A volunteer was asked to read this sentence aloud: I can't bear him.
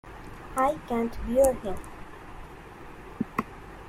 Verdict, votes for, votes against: accepted, 2, 1